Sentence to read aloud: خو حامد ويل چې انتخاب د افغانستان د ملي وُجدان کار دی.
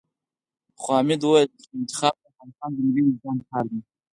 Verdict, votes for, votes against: accepted, 6, 0